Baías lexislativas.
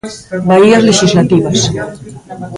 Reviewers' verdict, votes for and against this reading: rejected, 1, 2